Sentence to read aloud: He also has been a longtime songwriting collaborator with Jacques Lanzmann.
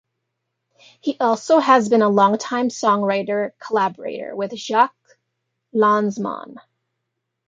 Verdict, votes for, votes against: accepted, 2, 0